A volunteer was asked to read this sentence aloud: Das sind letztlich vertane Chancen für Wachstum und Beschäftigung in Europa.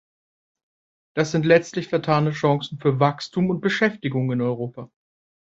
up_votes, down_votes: 2, 0